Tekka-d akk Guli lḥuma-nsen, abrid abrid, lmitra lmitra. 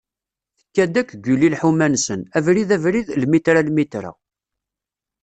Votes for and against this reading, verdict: 2, 0, accepted